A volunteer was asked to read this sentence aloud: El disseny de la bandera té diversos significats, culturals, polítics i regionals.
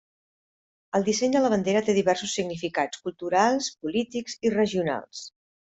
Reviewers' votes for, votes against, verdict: 3, 0, accepted